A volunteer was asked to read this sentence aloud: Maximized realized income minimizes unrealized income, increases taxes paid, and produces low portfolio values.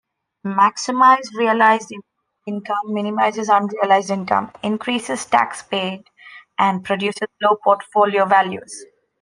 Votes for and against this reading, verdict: 0, 2, rejected